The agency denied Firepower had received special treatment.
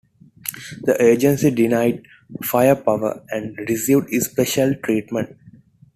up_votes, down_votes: 2, 1